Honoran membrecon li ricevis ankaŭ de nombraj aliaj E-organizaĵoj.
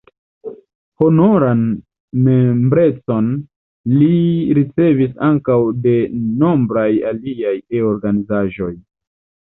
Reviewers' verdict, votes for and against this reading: rejected, 1, 2